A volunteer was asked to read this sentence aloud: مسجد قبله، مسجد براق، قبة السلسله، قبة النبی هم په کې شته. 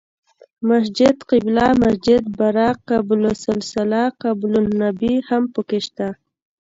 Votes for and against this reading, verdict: 2, 0, accepted